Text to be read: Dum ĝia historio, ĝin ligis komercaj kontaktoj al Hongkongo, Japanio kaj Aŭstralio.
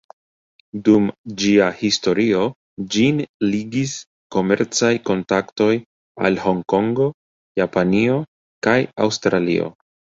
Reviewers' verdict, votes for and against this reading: accepted, 2, 1